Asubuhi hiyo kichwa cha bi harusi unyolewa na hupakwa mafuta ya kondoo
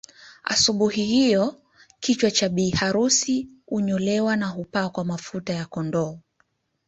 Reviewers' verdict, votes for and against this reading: accepted, 2, 1